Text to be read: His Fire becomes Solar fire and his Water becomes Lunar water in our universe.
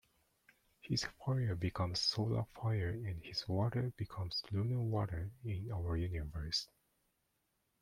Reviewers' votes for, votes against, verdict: 2, 1, accepted